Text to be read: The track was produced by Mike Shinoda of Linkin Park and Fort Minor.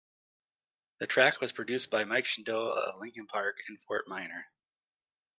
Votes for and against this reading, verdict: 0, 2, rejected